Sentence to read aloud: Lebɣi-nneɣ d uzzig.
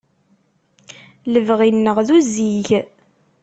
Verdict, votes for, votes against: accepted, 2, 0